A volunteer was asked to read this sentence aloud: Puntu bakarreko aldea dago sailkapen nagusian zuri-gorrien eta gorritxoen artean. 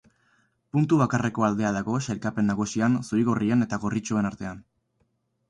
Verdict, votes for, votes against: accepted, 4, 0